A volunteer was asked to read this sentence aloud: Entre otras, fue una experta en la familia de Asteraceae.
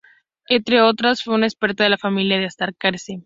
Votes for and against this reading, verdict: 0, 2, rejected